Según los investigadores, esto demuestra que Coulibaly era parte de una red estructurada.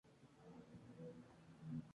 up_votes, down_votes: 0, 2